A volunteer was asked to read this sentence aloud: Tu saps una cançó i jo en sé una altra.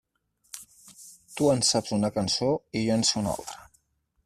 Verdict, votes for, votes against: rejected, 2, 4